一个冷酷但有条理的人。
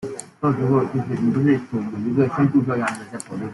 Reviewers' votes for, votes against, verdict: 0, 2, rejected